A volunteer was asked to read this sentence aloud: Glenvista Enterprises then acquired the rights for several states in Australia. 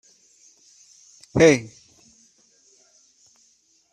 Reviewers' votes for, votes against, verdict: 0, 2, rejected